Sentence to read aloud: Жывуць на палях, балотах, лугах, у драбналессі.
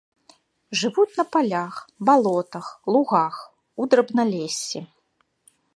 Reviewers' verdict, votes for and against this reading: accepted, 2, 0